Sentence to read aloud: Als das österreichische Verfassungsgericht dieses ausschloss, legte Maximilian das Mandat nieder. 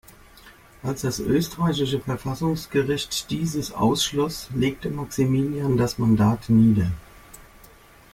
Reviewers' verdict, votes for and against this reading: accepted, 2, 0